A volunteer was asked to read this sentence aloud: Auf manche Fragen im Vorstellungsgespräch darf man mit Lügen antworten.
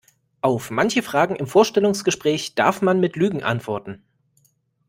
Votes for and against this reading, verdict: 2, 0, accepted